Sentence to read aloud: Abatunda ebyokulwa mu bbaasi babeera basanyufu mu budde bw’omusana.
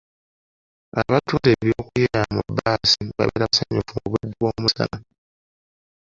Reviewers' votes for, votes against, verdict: 0, 2, rejected